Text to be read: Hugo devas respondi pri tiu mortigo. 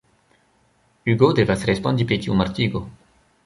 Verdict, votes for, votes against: accepted, 2, 0